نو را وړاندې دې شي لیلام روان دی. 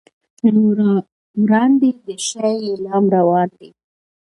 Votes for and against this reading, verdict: 1, 2, rejected